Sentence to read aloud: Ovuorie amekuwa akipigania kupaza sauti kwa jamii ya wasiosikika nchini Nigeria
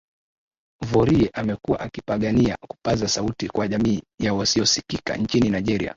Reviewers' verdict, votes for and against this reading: accepted, 4, 2